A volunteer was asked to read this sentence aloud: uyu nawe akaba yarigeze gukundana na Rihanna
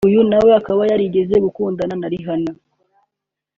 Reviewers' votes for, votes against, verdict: 2, 0, accepted